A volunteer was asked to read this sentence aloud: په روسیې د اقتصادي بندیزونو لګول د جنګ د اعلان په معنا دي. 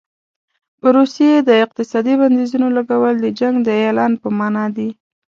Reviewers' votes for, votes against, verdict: 2, 0, accepted